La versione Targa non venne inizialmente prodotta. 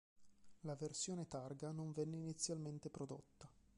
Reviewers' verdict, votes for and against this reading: rejected, 1, 4